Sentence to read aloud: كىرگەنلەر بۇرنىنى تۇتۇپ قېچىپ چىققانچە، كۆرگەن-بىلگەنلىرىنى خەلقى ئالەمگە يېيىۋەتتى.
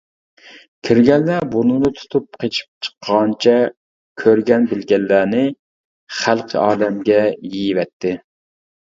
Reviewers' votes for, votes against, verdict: 1, 2, rejected